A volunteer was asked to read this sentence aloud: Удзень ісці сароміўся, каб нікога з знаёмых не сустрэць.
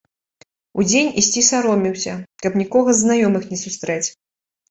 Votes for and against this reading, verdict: 2, 0, accepted